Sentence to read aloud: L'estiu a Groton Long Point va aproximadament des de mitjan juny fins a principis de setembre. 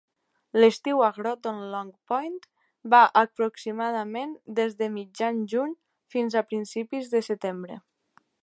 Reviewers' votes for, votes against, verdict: 2, 0, accepted